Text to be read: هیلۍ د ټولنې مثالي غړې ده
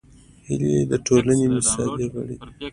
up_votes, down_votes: 2, 0